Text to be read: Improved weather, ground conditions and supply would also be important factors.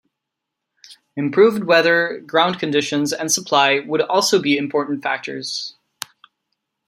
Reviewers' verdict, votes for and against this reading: rejected, 1, 2